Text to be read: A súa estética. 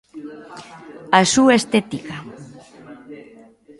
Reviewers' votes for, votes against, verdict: 2, 0, accepted